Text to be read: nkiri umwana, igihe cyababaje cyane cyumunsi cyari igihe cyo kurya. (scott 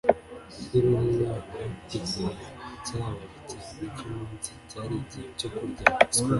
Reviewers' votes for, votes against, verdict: 1, 2, rejected